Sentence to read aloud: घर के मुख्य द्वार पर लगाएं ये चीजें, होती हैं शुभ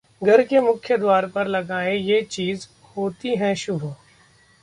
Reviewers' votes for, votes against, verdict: 0, 2, rejected